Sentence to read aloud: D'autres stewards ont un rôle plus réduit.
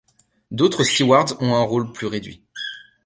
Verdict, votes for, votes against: rejected, 1, 2